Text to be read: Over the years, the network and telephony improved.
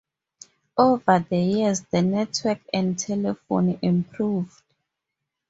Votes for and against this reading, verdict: 2, 0, accepted